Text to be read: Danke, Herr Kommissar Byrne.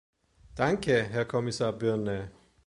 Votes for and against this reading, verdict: 0, 2, rejected